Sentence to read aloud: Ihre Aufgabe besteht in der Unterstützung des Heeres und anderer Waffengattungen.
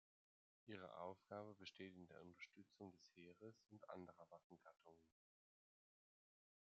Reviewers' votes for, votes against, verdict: 2, 0, accepted